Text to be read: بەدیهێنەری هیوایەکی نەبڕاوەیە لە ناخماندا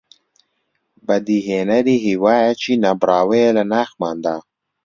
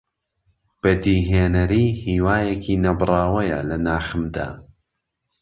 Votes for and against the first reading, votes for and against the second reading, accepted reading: 2, 0, 1, 2, first